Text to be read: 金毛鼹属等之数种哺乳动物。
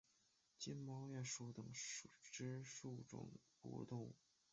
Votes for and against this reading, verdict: 5, 6, rejected